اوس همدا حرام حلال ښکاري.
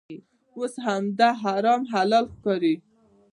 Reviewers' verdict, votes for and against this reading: accepted, 2, 1